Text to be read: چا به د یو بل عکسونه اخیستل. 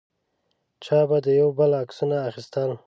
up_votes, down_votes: 2, 0